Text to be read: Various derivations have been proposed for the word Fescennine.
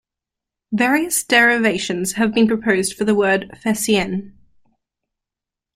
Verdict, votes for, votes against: rejected, 0, 2